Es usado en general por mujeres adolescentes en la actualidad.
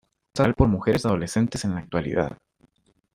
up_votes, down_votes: 0, 2